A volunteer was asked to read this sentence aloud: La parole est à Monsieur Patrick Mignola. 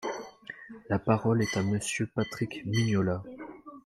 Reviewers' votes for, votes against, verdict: 2, 1, accepted